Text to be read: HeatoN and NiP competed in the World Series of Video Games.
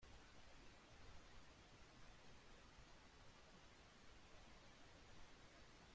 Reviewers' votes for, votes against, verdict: 0, 2, rejected